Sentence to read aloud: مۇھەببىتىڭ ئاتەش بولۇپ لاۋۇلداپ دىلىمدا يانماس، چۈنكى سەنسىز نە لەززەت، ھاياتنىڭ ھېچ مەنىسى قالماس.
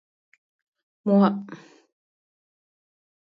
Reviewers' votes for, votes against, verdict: 0, 2, rejected